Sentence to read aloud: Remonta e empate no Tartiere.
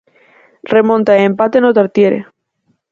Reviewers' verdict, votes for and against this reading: accepted, 4, 0